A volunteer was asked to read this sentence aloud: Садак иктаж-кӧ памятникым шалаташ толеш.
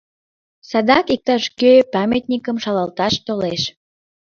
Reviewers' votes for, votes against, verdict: 0, 2, rejected